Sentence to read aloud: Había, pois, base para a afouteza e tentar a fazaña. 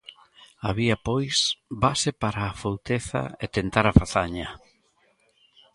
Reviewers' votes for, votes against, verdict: 3, 0, accepted